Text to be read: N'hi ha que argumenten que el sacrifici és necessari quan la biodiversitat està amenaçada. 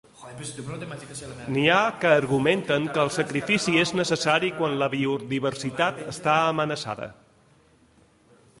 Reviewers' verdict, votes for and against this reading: rejected, 1, 2